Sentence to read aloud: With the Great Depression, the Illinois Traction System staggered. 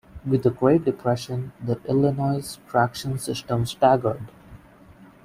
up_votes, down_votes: 0, 2